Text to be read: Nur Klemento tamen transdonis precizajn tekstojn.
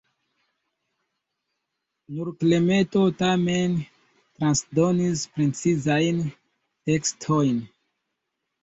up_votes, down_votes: 0, 2